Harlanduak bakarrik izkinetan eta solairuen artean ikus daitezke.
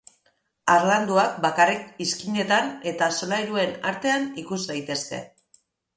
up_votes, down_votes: 4, 0